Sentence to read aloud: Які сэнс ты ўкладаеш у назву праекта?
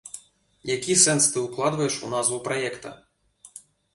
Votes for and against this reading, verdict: 1, 2, rejected